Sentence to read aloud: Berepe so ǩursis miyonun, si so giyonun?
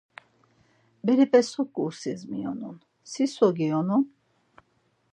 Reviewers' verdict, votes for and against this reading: accepted, 4, 0